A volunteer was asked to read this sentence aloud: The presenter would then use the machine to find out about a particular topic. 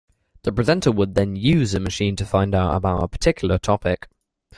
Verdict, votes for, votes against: rejected, 0, 2